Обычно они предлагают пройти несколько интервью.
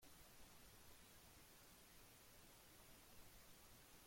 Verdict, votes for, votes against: rejected, 0, 2